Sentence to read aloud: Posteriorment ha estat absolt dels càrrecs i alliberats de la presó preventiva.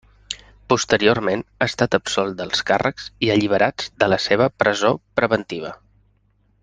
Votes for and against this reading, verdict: 1, 2, rejected